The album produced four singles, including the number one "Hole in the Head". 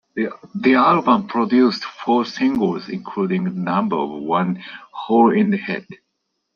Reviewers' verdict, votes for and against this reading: rejected, 0, 2